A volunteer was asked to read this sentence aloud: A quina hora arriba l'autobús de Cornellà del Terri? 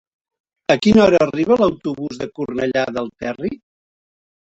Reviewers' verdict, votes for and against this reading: accepted, 3, 1